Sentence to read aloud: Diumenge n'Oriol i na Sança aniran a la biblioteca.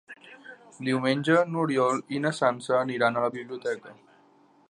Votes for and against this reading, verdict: 3, 0, accepted